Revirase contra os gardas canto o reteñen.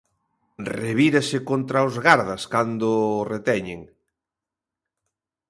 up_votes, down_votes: 0, 2